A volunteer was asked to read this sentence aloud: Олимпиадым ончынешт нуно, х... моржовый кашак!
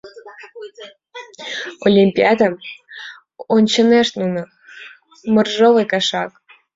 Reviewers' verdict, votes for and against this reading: rejected, 1, 2